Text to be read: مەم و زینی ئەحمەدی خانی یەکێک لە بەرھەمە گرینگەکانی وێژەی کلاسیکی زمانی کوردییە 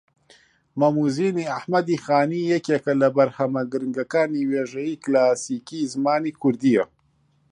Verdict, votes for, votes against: rejected, 1, 2